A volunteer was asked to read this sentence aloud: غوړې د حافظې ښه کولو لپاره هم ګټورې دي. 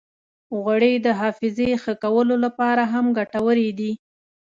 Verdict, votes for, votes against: accepted, 2, 0